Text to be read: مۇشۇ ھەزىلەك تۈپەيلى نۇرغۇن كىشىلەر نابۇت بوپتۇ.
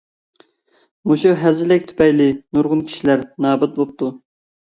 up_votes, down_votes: 2, 0